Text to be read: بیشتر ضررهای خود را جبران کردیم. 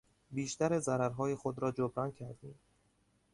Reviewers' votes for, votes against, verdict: 2, 0, accepted